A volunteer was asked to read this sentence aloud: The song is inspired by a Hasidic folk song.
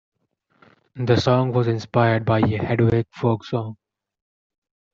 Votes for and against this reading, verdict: 1, 2, rejected